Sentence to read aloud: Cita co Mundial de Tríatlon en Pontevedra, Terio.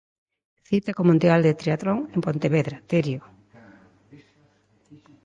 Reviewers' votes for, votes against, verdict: 2, 0, accepted